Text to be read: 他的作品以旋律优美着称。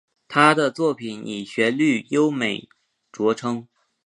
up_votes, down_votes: 2, 0